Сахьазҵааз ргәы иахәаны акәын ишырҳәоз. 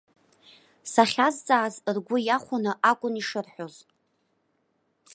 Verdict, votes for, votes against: accepted, 2, 0